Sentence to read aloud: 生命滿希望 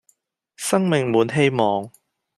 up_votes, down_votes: 2, 0